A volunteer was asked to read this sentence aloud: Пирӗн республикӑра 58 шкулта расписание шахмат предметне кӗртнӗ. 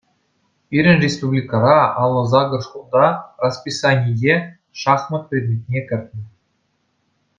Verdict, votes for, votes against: rejected, 0, 2